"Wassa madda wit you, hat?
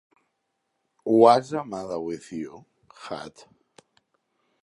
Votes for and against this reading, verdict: 0, 2, rejected